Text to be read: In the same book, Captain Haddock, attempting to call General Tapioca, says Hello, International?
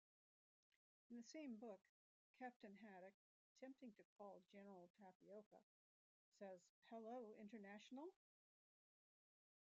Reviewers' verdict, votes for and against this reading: rejected, 0, 2